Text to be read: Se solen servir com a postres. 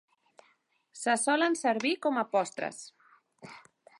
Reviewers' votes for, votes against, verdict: 2, 0, accepted